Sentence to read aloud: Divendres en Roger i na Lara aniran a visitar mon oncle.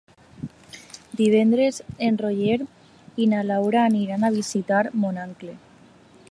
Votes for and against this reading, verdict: 0, 2, rejected